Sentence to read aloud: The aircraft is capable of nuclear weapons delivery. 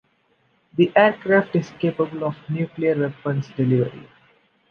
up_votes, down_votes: 1, 2